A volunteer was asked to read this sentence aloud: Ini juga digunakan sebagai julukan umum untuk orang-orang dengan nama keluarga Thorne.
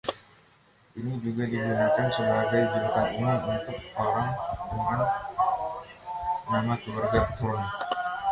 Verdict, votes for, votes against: rejected, 1, 2